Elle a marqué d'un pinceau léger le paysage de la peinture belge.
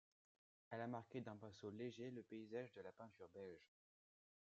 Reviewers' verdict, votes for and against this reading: rejected, 0, 2